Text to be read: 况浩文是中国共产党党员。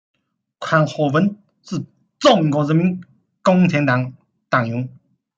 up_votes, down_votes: 0, 2